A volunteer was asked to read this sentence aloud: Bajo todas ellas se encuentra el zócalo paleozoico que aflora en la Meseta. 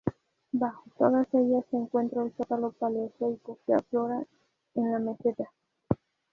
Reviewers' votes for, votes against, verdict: 2, 0, accepted